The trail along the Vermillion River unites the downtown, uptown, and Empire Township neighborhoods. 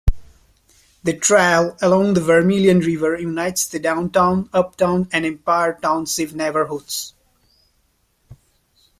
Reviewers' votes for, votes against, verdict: 0, 2, rejected